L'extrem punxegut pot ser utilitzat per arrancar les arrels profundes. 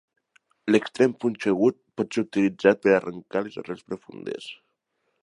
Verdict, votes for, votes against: accepted, 2, 0